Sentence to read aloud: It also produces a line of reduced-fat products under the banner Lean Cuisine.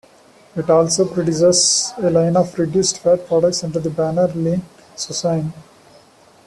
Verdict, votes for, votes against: accepted, 2, 0